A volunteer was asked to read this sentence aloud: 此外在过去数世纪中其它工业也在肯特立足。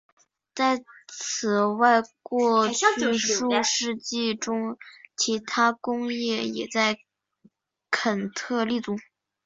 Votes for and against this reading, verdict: 0, 2, rejected